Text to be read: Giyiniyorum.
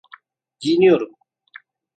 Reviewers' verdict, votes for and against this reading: accepted, 2, 0